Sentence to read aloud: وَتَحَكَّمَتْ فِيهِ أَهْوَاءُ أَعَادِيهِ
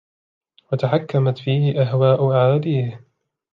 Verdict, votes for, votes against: accepted, 2, 0